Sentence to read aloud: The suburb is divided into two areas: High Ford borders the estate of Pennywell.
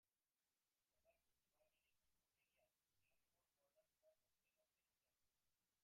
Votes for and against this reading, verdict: 0, 2, rejected